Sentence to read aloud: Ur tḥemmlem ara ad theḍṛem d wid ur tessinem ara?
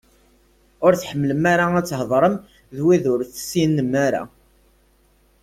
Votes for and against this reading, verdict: 2, 0, accepted